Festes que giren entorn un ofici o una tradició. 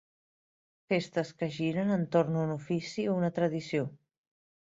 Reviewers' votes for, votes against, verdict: 2, 0, accepted